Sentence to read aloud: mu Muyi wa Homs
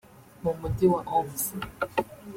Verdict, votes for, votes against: rejected, 0, 2